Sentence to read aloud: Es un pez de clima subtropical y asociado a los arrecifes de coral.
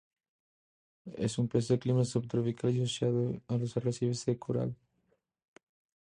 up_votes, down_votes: 2, 0